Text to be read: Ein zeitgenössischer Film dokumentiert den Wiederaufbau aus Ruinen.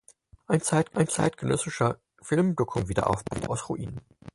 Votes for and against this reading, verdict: 0, 4, rejected